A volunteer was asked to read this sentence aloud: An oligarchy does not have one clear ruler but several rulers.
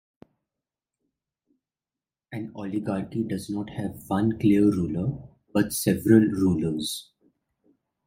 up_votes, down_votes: 2, 0